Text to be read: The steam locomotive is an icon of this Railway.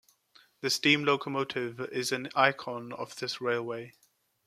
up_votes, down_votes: 2, 0